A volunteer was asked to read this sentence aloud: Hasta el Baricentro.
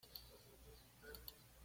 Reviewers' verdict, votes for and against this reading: rejected, 0, 2